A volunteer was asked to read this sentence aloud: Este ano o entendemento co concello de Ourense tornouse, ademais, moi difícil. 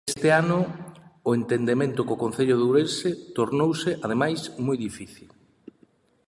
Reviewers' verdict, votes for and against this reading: accepted, 2, 0